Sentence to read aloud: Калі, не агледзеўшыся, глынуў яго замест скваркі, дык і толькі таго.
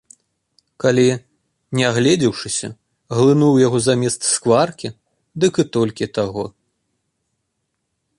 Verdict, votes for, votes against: accepted, 2, 0